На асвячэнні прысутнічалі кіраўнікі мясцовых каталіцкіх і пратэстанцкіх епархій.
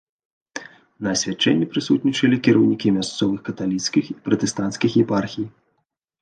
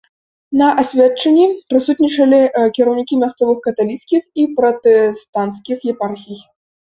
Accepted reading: first